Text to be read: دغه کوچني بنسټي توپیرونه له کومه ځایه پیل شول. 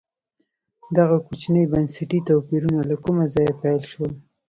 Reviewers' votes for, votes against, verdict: 0, 2, rejected